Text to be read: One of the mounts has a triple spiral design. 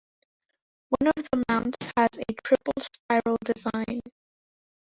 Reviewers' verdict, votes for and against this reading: rejected, 0, 2